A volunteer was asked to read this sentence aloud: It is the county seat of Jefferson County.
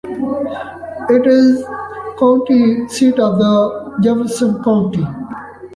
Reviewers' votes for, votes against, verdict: 1, 2, rejected